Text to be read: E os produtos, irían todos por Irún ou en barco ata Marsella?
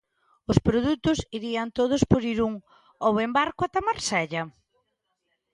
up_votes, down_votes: 0, 2